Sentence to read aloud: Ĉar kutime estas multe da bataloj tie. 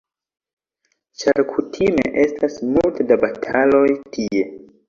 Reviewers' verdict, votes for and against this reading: accepted, 2, 0